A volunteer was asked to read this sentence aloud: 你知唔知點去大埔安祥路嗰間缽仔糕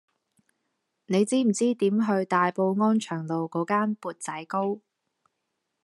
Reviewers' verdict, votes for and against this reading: accepted, 2, 0